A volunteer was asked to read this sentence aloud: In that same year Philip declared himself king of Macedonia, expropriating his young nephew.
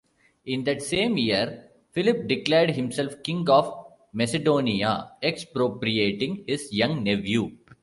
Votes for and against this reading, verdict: 2, 0, accepted